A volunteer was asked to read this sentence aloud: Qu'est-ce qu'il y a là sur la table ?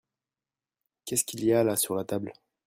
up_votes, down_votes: 2, 0